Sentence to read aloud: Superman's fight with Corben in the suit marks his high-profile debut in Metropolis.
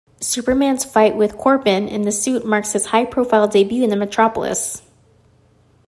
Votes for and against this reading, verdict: 1, 2, rejected